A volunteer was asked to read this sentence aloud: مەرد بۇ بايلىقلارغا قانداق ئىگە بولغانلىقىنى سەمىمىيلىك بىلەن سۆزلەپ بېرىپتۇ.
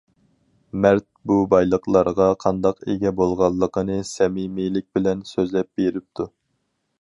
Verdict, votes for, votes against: accepted, 4, 0